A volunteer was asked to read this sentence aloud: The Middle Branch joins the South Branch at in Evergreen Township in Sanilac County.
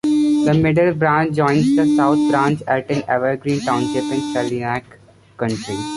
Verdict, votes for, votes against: rejected, 0, 2